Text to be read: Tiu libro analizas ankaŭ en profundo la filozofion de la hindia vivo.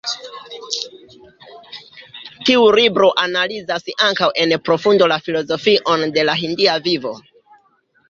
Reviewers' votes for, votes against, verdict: 2, 0, accepted